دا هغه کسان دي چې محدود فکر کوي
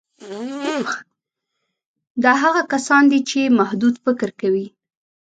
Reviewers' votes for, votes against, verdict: 1, 2, rejected